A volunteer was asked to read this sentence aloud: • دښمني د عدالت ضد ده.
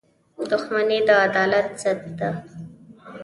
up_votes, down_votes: 2, 0